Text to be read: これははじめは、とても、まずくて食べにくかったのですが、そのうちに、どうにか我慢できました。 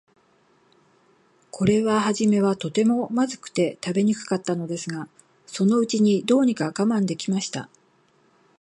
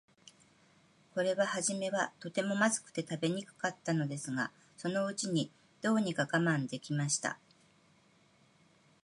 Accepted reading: second